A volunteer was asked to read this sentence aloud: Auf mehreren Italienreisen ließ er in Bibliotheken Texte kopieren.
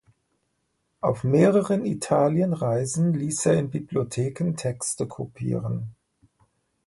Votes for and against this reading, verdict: 2, 0, accepted